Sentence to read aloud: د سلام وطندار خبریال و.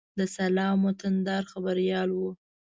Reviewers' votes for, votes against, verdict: 2, 0, accepted